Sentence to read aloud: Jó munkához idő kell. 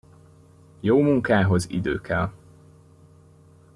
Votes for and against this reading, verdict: 2, 0, accepted